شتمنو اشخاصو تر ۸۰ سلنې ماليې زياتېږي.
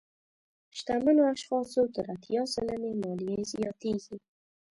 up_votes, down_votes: 0, 2